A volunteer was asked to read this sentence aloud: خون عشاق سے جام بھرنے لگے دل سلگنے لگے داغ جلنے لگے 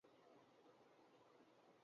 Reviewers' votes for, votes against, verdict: 0, 3, rejected